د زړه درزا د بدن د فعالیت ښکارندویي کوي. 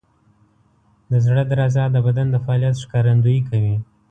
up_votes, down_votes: 2, 0